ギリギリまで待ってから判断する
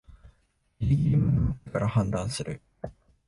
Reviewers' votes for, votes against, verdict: 1, 2, rejected